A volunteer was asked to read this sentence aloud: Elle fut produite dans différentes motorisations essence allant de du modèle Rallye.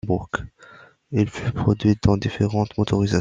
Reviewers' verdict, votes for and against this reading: rejected, 0, 2